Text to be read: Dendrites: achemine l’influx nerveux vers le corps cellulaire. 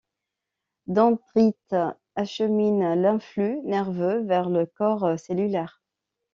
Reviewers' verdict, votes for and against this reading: rejected, 0, 2